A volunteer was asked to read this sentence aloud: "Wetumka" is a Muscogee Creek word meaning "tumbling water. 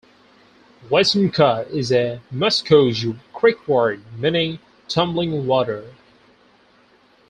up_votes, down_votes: 4, 2